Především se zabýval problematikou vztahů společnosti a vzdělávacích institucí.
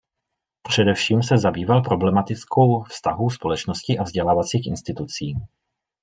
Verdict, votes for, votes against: rejected, 0, 2